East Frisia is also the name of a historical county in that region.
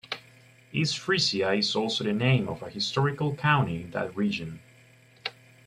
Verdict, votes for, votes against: rejected, 0, 2